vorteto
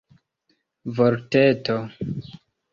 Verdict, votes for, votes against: accepted, 2, 0